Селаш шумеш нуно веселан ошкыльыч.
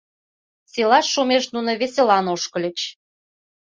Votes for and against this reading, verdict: 2, 0, accepted